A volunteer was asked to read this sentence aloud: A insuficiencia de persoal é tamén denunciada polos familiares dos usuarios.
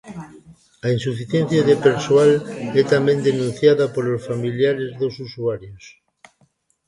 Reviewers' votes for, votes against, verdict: 0, 2, rejected